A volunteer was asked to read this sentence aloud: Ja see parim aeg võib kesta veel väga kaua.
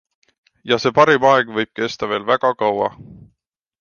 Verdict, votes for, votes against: accepted, 2, 0